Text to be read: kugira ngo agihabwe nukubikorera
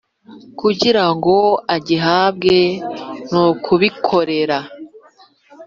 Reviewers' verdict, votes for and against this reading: accepted, 2, 0